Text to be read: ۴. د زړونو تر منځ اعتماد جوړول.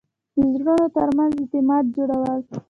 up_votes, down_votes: 0, 2